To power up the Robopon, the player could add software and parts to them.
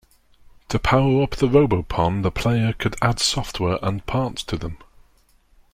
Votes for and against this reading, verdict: 2, 0, accepted